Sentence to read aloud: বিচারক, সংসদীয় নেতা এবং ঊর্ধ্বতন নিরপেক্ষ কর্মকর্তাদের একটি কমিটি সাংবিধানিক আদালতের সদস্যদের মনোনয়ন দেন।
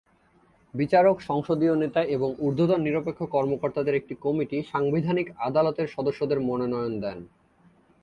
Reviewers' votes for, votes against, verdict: 3, 0, accepted